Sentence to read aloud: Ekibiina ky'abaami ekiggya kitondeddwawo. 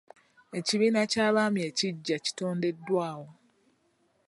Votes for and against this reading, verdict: 2, 0, accepted